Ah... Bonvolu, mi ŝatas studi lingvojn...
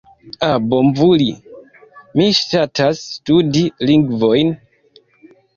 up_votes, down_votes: 1, 2